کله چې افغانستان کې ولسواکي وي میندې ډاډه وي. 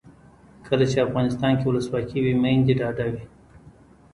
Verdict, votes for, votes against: rejected, 1, 2